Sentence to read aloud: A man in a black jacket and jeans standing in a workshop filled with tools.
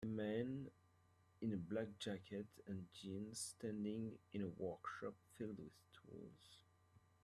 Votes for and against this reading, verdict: 0, 2, rejected